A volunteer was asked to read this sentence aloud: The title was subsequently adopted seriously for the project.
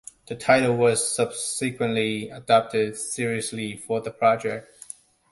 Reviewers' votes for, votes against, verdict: 2, 0, accepted